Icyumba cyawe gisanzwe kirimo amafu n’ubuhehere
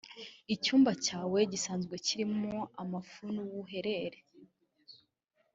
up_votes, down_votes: 0, 2